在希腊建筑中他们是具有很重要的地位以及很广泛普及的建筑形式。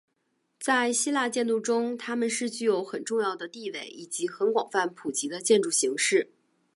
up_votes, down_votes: 8, 0